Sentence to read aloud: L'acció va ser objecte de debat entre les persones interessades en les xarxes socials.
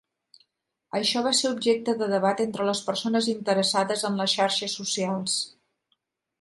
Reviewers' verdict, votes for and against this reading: rejected, 0, 2